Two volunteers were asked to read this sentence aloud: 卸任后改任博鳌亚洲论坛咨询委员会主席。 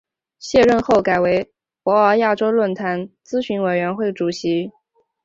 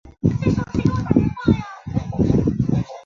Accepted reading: first